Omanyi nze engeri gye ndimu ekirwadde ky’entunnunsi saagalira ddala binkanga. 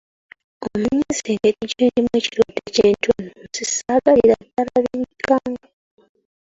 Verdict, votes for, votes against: rejected, 1, 2